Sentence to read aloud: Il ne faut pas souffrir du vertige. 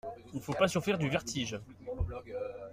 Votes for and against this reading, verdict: 0, 2, rejected